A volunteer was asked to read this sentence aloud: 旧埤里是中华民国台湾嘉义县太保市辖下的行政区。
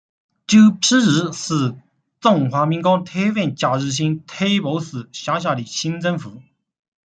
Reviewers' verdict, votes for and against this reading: rejected, 1, 2